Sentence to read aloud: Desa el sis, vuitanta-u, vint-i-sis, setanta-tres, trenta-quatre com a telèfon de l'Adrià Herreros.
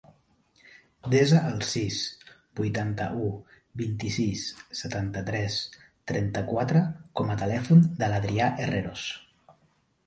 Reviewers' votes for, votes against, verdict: 6, 0, accepted